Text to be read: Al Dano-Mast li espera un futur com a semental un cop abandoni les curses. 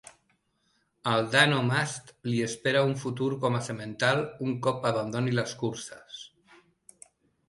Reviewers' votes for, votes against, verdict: 1, 2, rejected